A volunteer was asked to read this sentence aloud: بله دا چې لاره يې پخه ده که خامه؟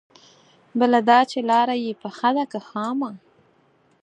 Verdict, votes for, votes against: accepted, 4, 0